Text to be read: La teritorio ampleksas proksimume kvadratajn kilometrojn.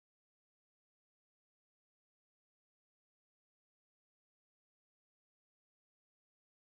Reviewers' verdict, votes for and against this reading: rejected, 1, 2